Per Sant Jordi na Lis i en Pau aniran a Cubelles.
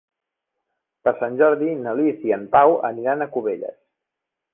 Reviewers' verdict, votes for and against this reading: accepted, 5, 0